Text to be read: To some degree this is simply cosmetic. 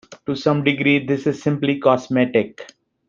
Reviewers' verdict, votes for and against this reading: accepted, 2, 0